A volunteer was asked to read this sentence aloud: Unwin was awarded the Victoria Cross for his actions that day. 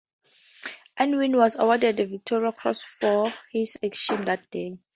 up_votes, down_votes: 2, 0